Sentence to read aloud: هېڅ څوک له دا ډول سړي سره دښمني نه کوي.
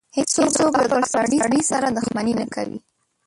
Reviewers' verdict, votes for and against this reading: rejected, 0, 2